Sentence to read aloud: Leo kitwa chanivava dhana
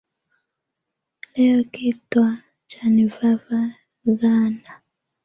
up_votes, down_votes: 2, 0